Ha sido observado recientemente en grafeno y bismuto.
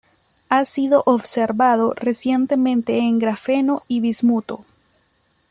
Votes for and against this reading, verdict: 2, 0, accepted